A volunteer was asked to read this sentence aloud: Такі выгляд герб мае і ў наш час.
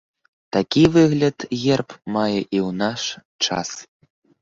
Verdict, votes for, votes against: accepted, 3, 0